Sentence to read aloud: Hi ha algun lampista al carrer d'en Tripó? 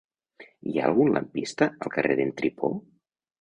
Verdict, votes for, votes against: accepted, 2, 0